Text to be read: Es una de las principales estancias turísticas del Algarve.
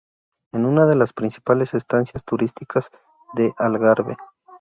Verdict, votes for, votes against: rejected, 0, 2